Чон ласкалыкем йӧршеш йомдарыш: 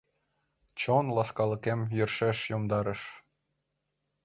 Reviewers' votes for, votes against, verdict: 2, 0, accepted